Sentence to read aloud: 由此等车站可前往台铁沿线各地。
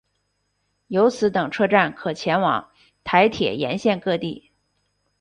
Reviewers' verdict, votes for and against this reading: accepted, 2, 0